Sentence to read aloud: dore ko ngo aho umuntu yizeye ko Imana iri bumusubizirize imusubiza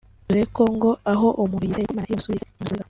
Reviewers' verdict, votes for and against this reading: rejected, 1, 2